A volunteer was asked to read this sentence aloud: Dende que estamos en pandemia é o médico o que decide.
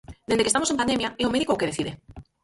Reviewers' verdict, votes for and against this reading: rejected, 0, 4